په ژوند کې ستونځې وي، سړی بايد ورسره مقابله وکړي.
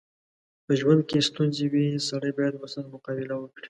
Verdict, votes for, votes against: accepted, 2, 0